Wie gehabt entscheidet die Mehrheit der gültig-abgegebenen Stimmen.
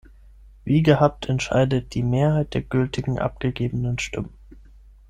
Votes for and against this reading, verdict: 3, 6, rejected